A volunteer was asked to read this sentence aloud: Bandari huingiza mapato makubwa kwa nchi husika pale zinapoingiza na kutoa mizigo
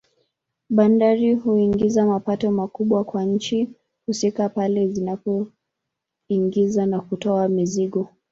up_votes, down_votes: 2, 1